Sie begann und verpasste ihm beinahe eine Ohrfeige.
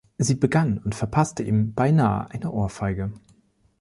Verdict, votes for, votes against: accepted, 2, 0